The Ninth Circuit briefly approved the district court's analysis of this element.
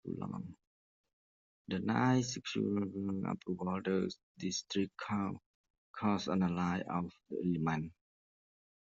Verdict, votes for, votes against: rejected, 0, 2